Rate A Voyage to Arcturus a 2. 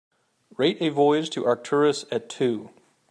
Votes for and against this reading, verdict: 0, 2, rejected